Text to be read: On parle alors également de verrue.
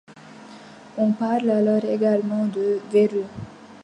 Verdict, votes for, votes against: accepted, 2, 0